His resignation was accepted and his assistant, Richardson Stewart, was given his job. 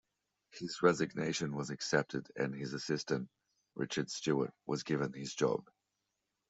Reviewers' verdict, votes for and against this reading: rejected, 1, 2